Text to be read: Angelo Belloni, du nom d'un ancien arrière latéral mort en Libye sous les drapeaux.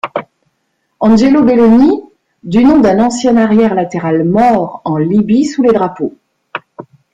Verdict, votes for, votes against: rejected, 1, 2